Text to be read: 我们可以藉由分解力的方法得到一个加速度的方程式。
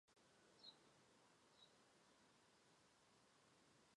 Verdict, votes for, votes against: rejected, 0, 3